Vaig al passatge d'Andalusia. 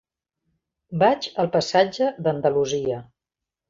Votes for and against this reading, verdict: 3, 0, accepted